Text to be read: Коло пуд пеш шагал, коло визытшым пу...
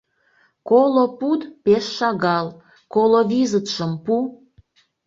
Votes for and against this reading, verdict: 2, 0, accepted